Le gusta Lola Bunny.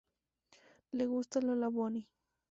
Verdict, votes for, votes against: accepted, 2, 0